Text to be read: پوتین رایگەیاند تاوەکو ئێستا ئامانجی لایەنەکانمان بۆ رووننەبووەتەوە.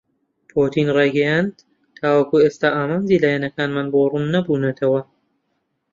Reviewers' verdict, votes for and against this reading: rejected, 0, 2